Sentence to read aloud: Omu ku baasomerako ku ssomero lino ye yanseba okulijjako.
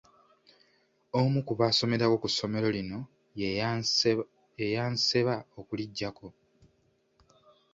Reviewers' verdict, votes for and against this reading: rejected, 1, 2